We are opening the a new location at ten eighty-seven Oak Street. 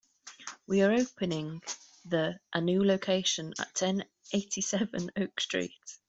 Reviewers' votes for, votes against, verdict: 2, 0, accepted